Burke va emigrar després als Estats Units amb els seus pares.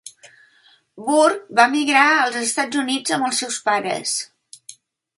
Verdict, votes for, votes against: rejected, 0, 2